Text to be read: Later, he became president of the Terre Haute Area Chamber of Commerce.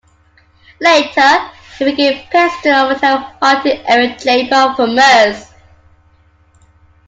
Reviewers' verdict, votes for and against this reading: rejected, 0, 2